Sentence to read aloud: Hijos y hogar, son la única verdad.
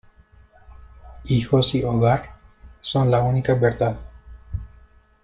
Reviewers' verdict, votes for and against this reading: accepted, 2, 1